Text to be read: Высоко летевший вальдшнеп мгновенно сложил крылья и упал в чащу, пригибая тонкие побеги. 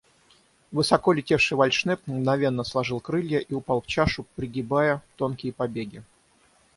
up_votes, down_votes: 3, 6